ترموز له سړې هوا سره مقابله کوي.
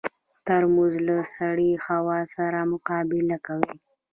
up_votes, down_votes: 0, 2